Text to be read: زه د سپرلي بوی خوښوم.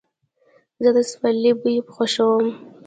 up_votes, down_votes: 1, 2